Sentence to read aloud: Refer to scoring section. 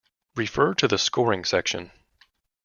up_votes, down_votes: 0, 2